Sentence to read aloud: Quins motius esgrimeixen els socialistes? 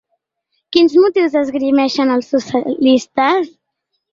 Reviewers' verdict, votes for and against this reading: rejected, 1, 2